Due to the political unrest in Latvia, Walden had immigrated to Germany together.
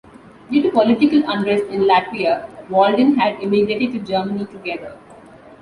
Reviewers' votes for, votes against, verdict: 2, 0, accepted